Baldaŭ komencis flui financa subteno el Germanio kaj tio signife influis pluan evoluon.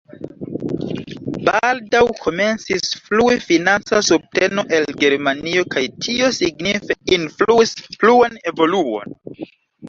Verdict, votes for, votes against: rejected, 1, 2